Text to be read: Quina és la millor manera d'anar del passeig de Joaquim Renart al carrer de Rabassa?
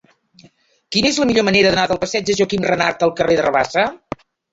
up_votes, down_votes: 0, 2